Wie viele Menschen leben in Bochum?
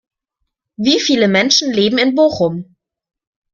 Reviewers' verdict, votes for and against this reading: accepted, 2, 0